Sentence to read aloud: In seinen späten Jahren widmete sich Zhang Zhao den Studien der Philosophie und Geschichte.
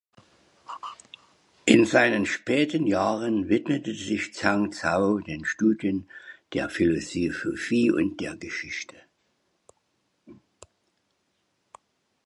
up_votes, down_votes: 1, 2